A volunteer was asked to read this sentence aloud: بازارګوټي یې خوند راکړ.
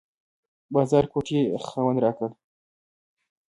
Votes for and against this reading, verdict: 3, 0, accepted